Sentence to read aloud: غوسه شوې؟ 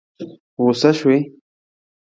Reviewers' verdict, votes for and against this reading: rejected, 1, 2